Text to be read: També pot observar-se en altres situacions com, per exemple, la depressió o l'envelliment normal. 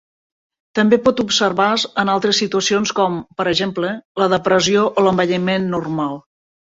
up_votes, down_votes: 2, 1